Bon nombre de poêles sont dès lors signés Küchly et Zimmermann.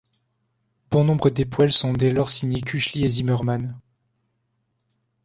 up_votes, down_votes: 0, 2